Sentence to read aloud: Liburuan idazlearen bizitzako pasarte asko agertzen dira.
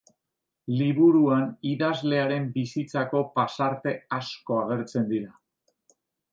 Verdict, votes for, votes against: accepted, 3, 0